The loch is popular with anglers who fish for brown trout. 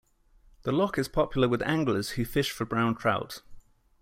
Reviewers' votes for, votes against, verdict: 2, 0, accepted